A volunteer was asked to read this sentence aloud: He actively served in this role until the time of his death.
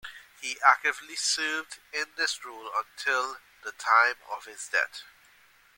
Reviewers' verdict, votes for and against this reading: rejected, 1, 2